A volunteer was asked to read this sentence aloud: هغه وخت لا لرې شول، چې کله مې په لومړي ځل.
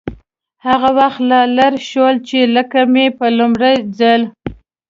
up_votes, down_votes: 0, 2